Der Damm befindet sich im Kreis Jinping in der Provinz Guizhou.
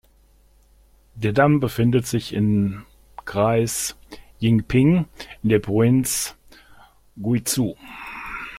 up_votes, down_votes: 1, 2